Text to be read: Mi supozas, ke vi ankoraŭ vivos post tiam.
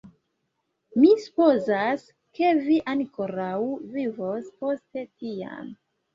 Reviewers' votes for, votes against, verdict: 2, 0, accepted